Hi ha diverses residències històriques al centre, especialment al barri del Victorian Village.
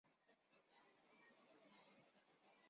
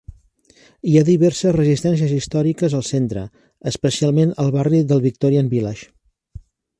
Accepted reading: second